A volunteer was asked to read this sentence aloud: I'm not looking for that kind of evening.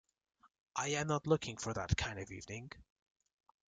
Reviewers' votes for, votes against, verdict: 1, 2, rejected